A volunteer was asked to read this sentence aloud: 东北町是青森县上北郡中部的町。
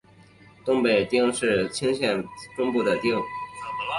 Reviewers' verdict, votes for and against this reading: rejected, 1, 2